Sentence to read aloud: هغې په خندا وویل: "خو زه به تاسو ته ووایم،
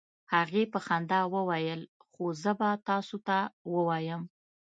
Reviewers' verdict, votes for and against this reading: accepted, 2, 0